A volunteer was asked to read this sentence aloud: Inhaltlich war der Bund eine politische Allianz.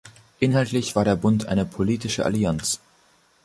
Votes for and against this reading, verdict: 3, 0, accepted